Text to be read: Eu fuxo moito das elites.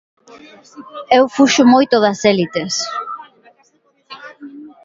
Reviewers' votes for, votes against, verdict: 1, 2, rejected